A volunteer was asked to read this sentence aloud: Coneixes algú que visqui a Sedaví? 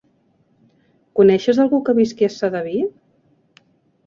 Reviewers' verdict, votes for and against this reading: accepted, 3, 0